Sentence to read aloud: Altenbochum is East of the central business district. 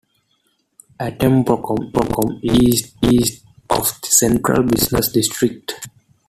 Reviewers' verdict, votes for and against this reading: rejected, 0, 2